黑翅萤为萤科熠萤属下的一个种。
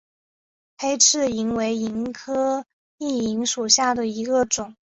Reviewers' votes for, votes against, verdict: 4, 1, accepted